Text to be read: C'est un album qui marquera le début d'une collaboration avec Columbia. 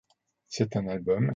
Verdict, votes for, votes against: rejected, 0, 2